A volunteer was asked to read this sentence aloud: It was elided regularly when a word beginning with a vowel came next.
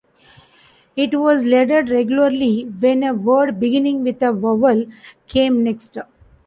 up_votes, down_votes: 0, 2